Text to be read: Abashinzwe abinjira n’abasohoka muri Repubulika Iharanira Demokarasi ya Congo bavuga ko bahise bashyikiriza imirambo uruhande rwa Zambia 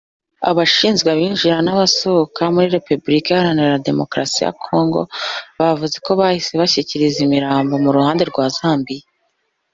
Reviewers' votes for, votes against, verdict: 1, 2, rejected